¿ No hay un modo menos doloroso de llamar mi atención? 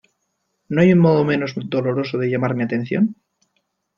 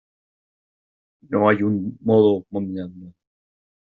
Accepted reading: first